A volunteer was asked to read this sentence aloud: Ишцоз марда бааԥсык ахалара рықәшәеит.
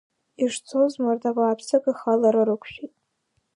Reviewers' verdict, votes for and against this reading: accepted, 2, 0